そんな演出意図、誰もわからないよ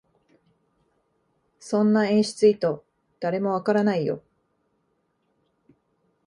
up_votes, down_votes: 0, 2